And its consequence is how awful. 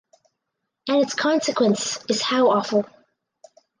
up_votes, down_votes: 4, 0